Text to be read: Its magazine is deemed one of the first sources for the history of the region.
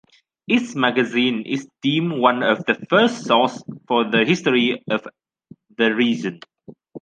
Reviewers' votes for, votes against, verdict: 0, 2, rejected